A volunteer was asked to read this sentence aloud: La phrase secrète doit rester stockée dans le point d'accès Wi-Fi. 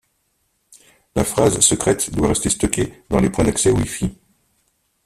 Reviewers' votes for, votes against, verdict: 1, 2, rejected